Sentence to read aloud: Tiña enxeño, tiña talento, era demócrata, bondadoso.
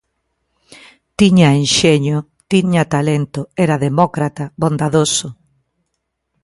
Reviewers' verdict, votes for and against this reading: accepted, 3, 0